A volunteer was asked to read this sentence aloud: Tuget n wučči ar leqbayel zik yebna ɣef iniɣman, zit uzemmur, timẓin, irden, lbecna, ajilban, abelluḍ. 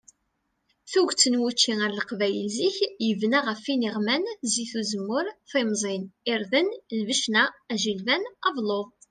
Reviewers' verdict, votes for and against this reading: accepted, 2, 0